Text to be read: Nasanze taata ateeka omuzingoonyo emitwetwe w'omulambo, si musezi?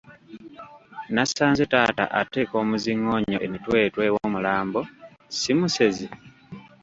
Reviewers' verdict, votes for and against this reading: accepted, 2, 1